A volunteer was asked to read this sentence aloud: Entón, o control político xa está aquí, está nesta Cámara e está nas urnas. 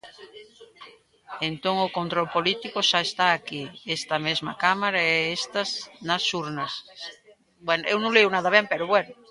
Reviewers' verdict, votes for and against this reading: rejected, 0, 2